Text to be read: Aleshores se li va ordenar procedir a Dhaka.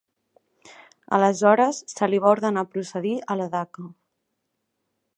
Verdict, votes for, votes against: rejected, 0, 2